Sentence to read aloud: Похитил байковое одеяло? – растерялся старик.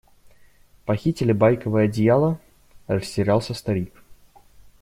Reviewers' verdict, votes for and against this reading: rejected, 0, 2